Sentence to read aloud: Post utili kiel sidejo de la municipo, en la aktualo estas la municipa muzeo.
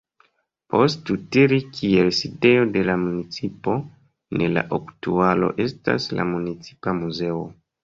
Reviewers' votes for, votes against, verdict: 1, 2, rejected